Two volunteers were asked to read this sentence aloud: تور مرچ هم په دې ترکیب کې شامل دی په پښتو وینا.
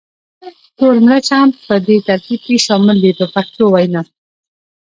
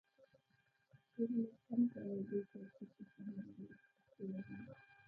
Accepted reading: first